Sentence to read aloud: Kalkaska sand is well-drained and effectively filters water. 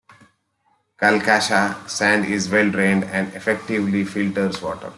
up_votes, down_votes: 1, 2